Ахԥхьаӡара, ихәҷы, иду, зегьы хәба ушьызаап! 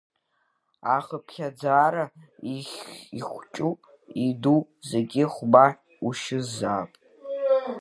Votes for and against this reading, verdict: 2, 3, rejected